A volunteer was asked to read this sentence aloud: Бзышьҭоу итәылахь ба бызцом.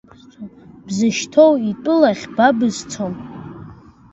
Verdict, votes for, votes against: accepted, 2, 1